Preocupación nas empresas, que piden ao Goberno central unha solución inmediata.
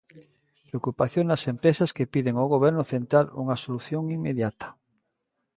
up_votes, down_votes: 2, 0